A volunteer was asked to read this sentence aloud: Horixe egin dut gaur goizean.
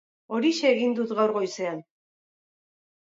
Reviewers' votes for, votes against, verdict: 4, 0, accepted